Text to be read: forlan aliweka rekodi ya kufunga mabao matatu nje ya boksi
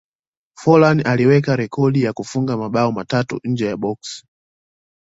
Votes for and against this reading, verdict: 2, 0, accepted